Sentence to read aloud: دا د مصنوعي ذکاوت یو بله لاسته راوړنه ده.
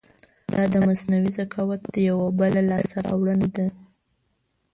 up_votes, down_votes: 0, 2